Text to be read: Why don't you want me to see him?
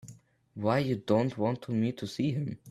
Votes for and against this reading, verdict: 2, 11, rejected